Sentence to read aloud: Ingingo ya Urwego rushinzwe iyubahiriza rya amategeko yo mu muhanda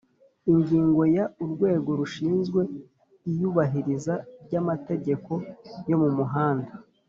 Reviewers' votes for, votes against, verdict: 4, 0, accepted